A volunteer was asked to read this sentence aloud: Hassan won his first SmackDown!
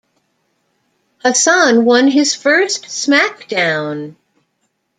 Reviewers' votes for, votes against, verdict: 2, 0, accepted